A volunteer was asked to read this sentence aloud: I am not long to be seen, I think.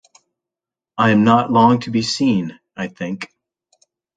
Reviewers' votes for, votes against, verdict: 2, 1, accepted